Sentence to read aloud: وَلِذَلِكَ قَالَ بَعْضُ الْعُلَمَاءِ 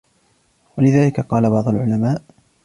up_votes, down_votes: 2, 0